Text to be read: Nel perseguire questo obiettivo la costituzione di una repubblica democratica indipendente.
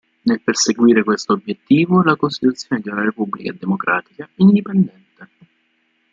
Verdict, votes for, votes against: rejected, 0, 2